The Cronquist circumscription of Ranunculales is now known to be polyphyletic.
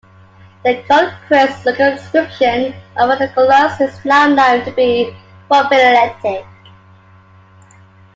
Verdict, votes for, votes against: accepted, 2, 1